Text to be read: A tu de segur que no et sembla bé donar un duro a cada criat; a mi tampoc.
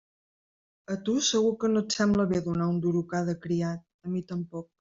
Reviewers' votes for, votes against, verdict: 0, 2, rejected